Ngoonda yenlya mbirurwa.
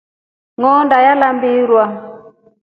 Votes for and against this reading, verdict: 0, 3, rejected